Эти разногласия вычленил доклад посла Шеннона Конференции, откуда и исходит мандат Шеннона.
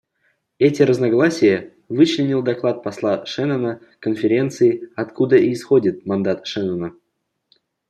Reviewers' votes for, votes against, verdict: 2, 0, accepted